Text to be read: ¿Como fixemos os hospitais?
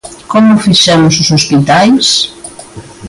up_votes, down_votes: 2, 0